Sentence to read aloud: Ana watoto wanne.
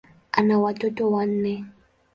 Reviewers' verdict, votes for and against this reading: accepted, 2, 0